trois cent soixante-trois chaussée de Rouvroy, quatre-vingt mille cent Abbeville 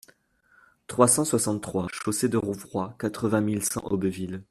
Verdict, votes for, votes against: rejected, 0, 2